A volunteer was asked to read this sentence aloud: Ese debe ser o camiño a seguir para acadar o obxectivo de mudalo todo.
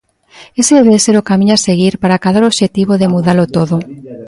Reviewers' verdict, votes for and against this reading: accepted, 2, 0